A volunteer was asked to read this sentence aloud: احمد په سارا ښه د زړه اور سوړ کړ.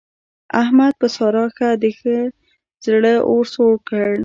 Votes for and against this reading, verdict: 1, 3, rejected